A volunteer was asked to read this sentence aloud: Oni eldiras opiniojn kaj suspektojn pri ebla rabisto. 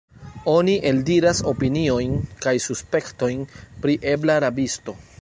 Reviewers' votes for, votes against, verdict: 1, 2, rejected